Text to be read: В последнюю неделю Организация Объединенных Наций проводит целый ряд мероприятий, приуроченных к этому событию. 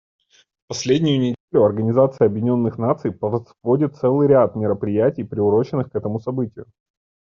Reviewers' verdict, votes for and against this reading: rejected, 0, 2